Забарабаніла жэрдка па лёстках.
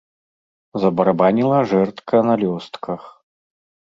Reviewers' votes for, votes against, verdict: 0, 2, rejected